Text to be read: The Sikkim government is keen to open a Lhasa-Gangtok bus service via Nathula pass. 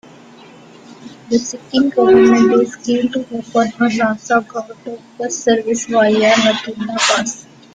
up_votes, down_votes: 0, 2